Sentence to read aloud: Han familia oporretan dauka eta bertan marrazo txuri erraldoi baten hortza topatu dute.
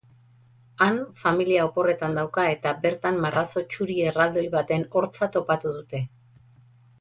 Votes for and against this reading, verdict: 4, 0, accepted